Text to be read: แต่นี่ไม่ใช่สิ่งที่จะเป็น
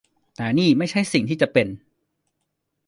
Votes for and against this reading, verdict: 1, 2, rejected